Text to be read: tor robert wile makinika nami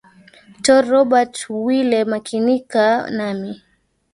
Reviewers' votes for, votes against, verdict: 2, 1, accepted